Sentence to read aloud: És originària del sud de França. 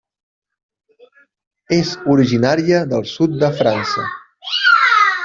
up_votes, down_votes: 1, 2